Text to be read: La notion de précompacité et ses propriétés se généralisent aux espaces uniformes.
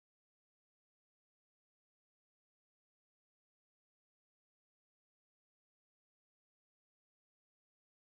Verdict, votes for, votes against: rejected, 0, 2